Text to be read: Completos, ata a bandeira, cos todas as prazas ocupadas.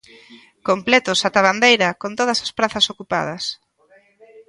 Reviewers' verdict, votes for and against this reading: rejected, 1, 2